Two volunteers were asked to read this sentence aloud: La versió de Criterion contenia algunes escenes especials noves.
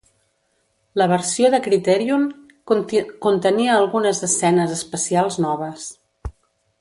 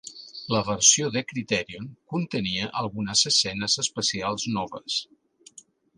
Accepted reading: second